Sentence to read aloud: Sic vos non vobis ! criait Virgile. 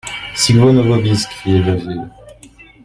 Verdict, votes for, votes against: rejected, 0, 2